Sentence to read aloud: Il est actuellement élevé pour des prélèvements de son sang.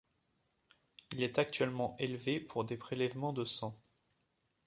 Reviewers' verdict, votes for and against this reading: rejected, 0, 2